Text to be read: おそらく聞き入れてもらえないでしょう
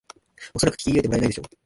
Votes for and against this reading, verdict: 0, 2, rejected